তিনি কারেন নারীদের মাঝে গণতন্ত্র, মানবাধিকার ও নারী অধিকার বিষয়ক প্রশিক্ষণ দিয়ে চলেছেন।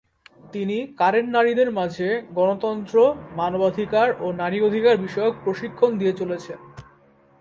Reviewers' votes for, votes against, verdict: 38, 1, accepted